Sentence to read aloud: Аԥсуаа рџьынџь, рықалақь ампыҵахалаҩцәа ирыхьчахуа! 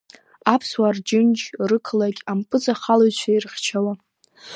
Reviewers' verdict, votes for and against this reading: rejected, 1, 3